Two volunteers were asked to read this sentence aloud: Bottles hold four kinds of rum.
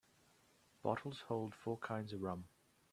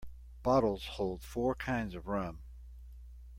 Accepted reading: second